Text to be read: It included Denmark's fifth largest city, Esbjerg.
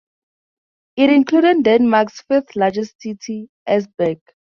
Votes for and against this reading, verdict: 2, 0, accepted